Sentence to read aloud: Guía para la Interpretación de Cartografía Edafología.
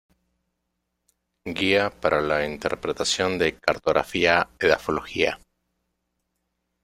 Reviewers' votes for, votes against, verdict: 2, 0, accepted